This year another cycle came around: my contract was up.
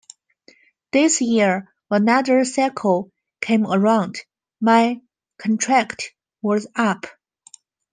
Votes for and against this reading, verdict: 3, 1, accepted